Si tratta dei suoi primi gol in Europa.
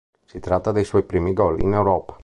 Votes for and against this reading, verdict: 2, 0, accepted